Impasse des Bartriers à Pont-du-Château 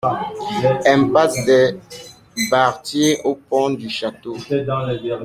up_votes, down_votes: 0, 2